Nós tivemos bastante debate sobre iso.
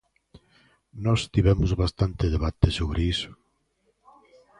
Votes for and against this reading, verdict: 0, 2, rejected